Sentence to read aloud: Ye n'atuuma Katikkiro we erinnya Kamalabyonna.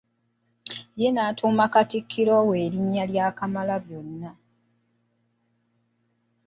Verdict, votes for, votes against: rejected, 0, 2